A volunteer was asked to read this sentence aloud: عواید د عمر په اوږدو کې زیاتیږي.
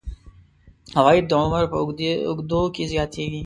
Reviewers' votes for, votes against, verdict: 2, 1, accepted